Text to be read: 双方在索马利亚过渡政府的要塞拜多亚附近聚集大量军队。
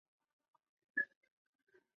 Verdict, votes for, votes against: rejected, 0, 2